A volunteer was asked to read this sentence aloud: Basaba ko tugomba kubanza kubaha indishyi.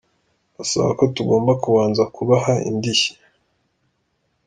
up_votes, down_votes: 2, 0